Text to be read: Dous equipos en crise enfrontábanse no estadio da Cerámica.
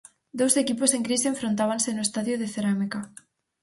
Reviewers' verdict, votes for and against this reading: rejected, 0, 4